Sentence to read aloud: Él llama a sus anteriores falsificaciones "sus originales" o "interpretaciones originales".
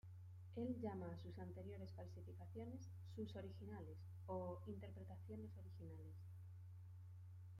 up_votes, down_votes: 2, 1